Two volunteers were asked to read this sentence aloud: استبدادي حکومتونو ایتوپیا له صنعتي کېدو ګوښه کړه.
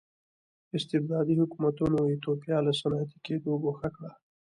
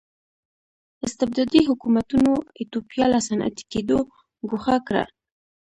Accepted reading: first